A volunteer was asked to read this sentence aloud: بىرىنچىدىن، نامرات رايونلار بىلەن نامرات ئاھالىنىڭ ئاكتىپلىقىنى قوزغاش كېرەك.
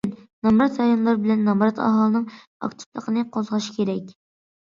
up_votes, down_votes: 0, 2